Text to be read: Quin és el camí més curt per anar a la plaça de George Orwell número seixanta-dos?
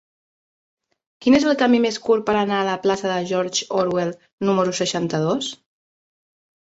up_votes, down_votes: 5, 0